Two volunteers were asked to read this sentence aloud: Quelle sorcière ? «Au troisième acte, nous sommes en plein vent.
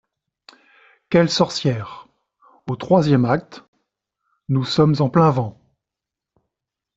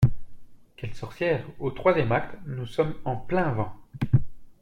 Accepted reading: second